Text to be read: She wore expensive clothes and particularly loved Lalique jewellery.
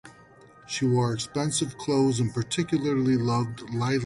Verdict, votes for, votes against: rejected, 0, 2